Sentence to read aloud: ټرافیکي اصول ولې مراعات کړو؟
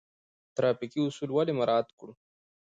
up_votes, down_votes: 2, 0